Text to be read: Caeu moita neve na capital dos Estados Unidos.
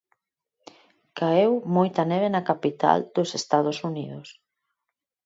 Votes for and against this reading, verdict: 4, 0, accepted